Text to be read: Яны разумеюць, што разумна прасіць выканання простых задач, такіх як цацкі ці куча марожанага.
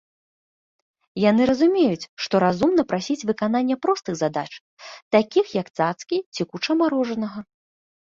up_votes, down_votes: 3, 0